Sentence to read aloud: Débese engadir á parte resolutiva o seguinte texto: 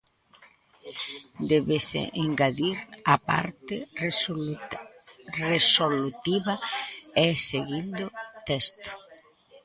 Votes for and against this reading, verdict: 0, 2, rejected